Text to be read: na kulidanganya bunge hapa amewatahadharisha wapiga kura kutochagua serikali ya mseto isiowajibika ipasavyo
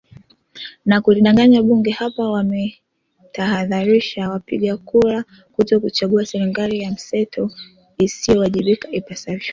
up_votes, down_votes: 0, 2